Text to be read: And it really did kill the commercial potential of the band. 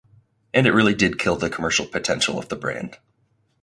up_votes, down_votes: 0, 4